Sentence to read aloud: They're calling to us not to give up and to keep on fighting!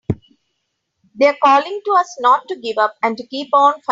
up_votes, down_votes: 0, 2